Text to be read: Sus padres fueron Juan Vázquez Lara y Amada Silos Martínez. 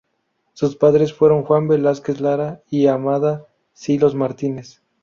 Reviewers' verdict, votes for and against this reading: rejected, 0, 2